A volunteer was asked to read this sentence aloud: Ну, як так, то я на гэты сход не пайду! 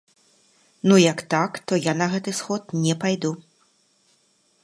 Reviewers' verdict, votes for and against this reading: accepted, 3, 0